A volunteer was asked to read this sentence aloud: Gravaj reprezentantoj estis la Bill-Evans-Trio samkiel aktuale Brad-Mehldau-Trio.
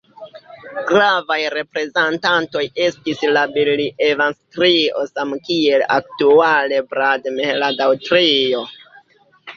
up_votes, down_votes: 1, 2